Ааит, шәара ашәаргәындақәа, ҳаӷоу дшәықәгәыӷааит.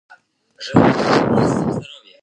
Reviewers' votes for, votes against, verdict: 0, 2, rejected